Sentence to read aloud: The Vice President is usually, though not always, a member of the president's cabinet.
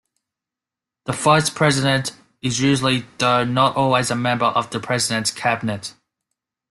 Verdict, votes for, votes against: accepted, 2, 0